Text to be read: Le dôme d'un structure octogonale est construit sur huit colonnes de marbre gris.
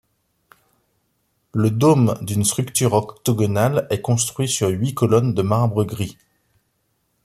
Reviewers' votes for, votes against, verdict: 2, 0, accepted